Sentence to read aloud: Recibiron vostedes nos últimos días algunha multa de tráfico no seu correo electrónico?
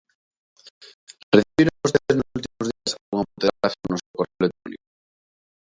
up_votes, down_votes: 0, 2